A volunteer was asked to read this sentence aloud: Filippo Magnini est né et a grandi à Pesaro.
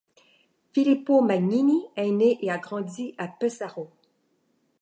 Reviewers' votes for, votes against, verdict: 2, 0, accepted